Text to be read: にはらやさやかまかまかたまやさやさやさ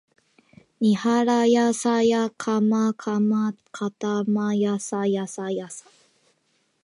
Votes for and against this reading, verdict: 2, 0, accepted